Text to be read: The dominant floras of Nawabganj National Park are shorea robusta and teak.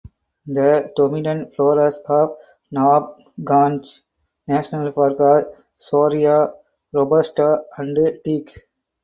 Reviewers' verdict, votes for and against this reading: rejected, 2, 2